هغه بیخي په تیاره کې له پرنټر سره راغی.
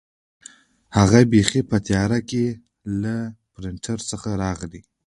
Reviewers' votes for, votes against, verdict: 1, 2, rejected